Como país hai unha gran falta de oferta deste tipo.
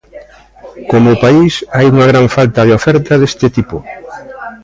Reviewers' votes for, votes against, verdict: 2, 1, accepted